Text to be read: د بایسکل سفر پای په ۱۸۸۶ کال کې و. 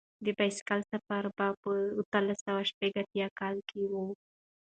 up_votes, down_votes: 0, 2